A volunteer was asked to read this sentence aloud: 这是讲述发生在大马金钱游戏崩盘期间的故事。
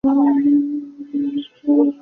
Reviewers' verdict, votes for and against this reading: rejected, 0, 4